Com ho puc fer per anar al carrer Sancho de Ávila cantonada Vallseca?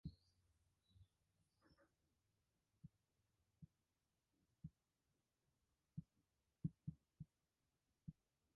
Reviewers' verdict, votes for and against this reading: rejected, 0, 2